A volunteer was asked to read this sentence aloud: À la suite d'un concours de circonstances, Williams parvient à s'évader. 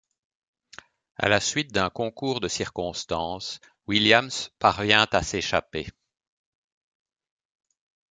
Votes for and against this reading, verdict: 1, 2, rejected